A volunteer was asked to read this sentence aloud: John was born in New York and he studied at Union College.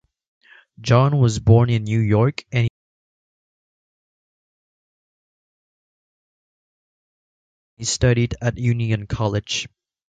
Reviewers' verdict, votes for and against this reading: rejected, 0, 2